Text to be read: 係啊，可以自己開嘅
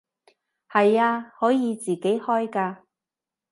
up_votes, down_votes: 0, 2